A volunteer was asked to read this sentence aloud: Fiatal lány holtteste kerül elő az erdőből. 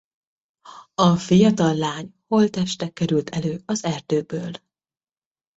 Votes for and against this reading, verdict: 0, 2, rejected